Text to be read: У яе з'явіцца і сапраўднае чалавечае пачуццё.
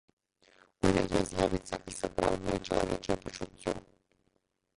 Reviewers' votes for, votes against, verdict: 1, 2, rejected